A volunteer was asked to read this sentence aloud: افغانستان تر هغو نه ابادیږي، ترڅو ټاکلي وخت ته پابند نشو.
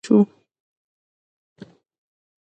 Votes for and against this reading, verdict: 1, 2, rejected